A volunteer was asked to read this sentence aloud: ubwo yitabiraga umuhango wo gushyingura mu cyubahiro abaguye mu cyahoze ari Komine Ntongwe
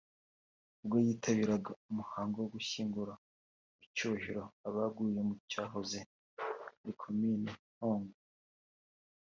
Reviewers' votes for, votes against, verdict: 2, 0, accepted